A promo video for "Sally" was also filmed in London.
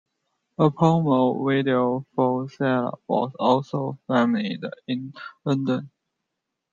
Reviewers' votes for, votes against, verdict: 0, 2, rejected